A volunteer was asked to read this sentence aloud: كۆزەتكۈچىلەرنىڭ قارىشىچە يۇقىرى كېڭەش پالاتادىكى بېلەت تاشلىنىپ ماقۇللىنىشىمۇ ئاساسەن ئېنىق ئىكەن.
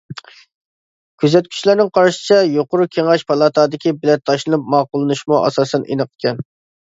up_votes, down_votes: 2, 0